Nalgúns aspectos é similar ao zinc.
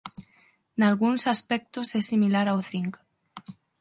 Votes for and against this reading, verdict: 6, 0, accepted